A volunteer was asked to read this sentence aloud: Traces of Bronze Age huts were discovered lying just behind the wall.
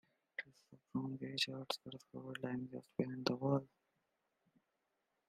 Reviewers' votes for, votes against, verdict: 0, 2, rejected